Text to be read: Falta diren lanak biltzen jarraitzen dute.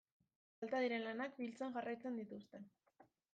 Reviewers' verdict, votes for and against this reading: rejected, 0, 2